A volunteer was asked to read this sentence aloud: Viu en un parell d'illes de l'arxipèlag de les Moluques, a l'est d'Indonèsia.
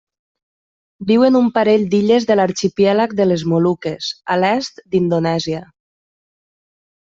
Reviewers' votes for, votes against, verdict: 0, 2, rejected